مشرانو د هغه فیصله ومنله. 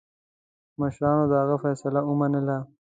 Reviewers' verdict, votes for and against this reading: accepted, 2, 0